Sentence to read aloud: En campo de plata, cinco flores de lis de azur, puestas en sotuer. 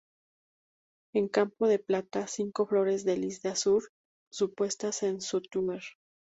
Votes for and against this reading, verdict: 0, 2, rejected